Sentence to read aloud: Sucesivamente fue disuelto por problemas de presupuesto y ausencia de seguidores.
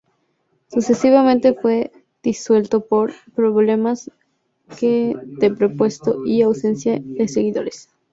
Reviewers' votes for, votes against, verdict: 2, 0, accepted